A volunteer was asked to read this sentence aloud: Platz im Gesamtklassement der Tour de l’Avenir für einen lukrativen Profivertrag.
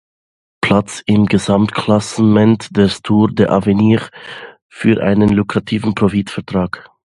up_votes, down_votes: 0, 2